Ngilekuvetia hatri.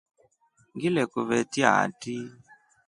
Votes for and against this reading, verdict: 2, 0, accepted